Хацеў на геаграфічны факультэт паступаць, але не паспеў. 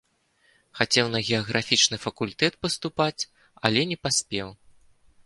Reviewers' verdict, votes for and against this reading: accepted, 2, 0